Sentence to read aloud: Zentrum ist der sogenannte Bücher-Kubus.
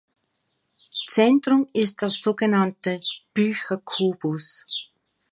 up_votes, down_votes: 2, 1